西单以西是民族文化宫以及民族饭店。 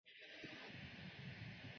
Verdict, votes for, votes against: rejected, 0, 2